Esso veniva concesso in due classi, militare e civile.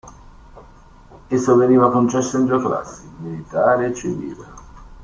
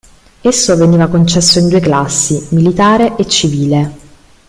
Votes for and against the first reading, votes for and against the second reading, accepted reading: 0, 2, 2, 0, second